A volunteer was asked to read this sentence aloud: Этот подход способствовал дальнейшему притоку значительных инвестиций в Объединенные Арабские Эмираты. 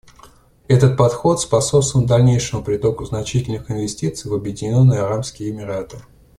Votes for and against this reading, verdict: 2, 0, accepted